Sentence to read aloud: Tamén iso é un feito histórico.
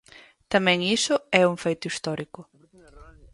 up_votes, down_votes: 0, 4